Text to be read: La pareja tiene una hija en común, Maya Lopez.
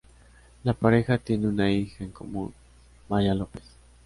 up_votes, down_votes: 2, 0